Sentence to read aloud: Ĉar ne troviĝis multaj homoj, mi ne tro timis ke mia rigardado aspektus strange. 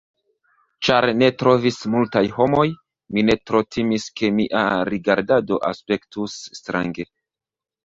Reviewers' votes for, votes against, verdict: 1, 2, rejected